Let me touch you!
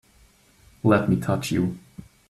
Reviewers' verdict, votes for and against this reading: accepted, 2, 0